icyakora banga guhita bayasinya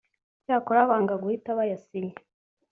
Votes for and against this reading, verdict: 2, 0, accepted